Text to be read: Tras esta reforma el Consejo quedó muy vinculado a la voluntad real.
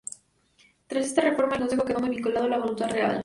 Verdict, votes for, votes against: rejected, 0, 2